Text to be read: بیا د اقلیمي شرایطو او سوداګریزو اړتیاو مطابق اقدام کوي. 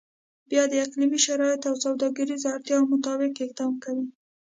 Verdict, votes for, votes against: accepted, 2, 0